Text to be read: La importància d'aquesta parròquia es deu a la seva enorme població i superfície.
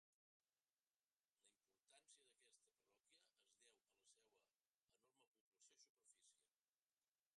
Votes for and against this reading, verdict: 0, 3, rejected